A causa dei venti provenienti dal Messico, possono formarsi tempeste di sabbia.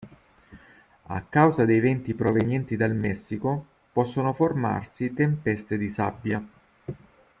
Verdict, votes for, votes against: accepted, 3, 0